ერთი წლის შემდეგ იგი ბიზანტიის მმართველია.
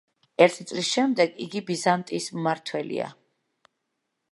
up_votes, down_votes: 2, 0